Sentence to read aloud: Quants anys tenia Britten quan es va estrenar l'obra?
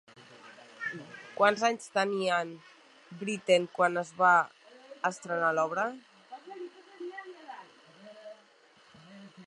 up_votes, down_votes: 0, 2